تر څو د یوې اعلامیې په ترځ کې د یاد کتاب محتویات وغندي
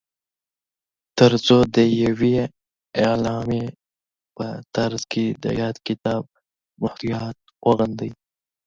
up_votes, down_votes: 0, 2